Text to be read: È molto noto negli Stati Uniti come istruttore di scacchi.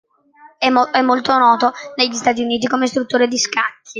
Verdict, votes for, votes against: rejected, 0, 2